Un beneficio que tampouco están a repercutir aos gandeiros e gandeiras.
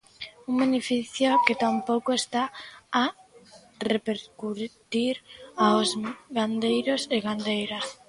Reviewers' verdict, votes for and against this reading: rejected, 0, 2